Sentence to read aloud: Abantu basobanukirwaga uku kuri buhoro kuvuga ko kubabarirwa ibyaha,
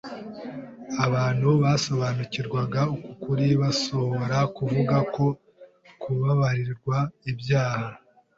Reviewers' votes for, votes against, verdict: 1, 2, rejected